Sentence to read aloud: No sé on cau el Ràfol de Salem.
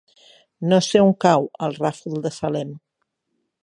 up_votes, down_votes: 6, 0